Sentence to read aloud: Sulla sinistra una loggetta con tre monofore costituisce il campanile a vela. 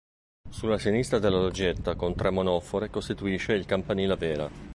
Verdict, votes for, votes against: rejected, 1, 2